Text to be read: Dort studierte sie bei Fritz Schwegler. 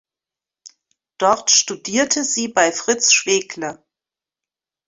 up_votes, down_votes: 2, 0